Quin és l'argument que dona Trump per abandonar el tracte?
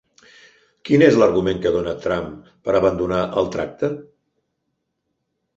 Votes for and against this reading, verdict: 2, 0, accepted